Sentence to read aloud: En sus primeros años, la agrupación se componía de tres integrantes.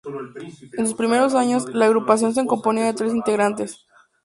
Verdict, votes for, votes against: accepted, 2, 0